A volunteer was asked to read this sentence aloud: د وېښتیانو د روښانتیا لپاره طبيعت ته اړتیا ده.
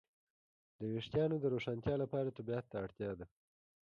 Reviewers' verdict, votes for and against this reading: accepted, 2, 0